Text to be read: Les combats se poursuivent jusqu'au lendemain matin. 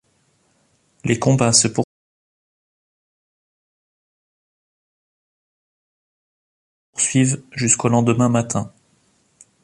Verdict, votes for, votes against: rejected, 0, 2